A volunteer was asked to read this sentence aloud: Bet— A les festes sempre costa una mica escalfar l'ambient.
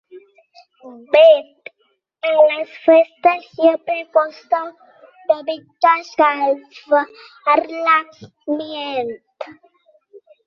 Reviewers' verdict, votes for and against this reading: rejected, 1, 3